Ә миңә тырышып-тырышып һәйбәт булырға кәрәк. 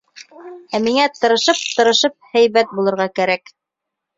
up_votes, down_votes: 2, 0